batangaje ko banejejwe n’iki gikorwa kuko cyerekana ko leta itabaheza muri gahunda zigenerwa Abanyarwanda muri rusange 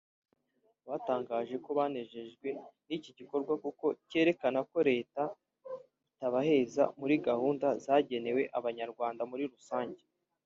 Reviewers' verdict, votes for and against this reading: rejected, 3, 4